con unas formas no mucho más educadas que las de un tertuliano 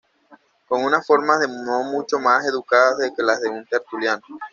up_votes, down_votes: 1, 2